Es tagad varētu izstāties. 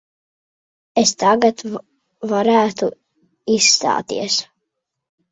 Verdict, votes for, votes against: rejected, 1, 2